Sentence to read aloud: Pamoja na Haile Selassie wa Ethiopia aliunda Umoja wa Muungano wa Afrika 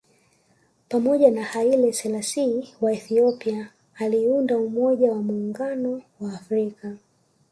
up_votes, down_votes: 1, 2